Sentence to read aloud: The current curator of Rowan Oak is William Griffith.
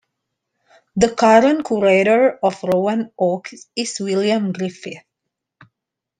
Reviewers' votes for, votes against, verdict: 2, 1, accepted